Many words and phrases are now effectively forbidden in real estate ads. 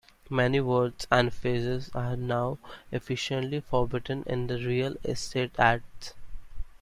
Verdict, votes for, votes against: rejected, 0, 2